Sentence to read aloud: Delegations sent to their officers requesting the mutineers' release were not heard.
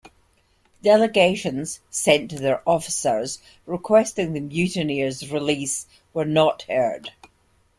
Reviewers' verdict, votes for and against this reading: accepted, 2, 0